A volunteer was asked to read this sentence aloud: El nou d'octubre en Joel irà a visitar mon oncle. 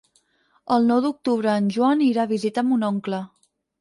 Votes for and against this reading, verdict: 0, 4, rejected